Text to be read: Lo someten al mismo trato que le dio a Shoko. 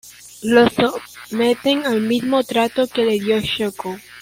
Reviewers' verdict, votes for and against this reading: rejected, 1, 2